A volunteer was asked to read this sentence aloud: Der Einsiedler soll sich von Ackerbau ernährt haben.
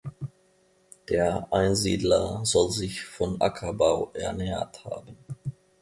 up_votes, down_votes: 2, 0